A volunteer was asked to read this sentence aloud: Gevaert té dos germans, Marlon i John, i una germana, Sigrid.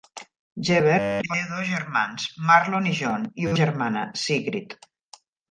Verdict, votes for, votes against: rejected, 1, 2